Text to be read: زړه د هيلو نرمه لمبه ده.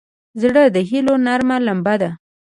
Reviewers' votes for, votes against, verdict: 2, 0, accepted